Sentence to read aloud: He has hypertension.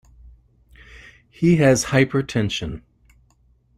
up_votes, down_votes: 2, 0